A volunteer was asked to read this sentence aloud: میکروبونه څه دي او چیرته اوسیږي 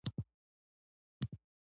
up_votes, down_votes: 2, 0